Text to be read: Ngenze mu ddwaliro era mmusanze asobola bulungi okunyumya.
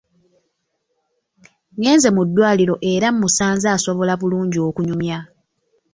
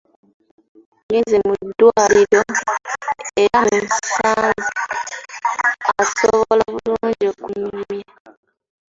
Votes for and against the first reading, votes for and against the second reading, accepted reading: 2, 0, 0, 2, first